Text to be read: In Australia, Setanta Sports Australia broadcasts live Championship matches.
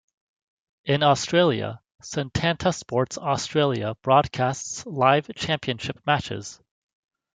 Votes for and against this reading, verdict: 0, 2, rejected